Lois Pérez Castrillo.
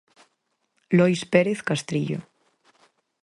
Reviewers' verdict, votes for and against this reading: accepted, 4, 0